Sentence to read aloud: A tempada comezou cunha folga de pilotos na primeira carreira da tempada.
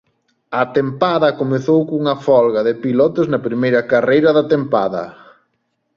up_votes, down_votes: 2, 0